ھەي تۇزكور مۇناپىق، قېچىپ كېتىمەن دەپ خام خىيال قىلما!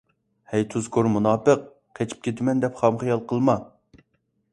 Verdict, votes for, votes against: accepted, 2, 0